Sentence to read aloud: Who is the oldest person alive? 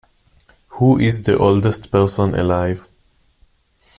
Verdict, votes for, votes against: accepted, 2, 0